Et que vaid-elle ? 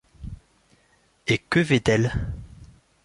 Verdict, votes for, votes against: accepted, 2, 0